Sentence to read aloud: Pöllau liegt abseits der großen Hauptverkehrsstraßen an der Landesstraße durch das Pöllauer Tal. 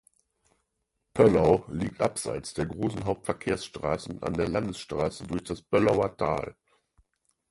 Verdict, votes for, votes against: accepted, 4, 0